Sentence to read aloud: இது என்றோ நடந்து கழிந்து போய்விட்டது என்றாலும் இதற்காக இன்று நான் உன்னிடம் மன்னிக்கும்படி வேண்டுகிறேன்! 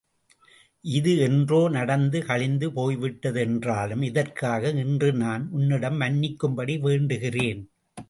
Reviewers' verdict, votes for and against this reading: accepted, 2, 0